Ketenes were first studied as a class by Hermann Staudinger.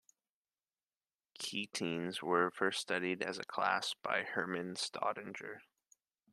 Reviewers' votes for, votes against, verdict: 2, 0, accepted